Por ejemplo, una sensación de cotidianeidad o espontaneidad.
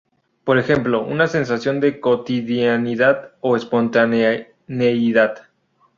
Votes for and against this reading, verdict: 2, 2, rejected